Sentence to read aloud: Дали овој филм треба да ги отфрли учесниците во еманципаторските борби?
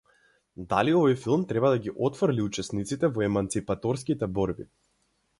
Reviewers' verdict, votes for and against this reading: accepted, 4, 0